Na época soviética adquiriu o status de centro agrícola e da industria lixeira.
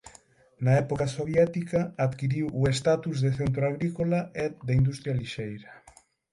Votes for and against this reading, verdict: 3, 6, rejected